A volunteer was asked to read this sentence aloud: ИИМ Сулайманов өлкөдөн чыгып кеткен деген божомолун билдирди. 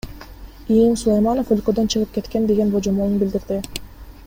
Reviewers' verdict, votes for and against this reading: rejected, 1, 2